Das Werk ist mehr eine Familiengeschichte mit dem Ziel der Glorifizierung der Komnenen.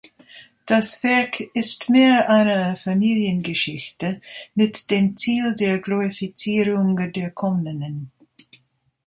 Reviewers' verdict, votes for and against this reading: rejected, 0, 2